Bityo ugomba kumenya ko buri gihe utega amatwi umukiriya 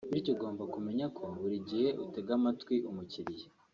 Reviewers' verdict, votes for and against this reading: accepted, 3, 0